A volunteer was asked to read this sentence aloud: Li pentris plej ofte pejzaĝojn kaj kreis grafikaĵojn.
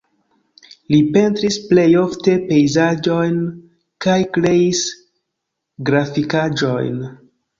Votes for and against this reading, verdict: 1, 2, rejected